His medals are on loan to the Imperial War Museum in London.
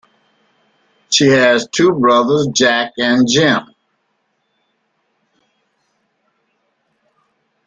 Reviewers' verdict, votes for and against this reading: rejected, 0, 2